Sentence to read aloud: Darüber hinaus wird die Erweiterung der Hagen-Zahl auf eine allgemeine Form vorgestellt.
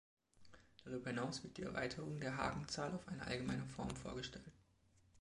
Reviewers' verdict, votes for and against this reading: accepted, 2, 0